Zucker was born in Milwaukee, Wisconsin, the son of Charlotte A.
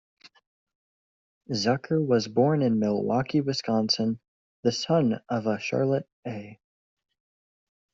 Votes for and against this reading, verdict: 0, 2, rejected